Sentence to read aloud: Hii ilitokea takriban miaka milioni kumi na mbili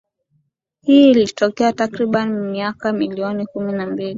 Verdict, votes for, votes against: accepted, 2, 1